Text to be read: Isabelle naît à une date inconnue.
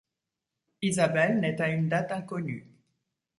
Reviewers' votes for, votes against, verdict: 1, 2, rejected